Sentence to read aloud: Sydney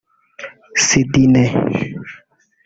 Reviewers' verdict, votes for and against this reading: rejected, 1, 2